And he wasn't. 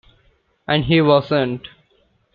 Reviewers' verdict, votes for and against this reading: accepted, 2, 0